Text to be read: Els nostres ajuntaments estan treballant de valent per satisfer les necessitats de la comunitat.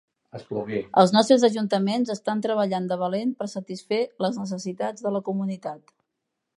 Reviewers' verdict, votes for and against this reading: rejected, 1, 2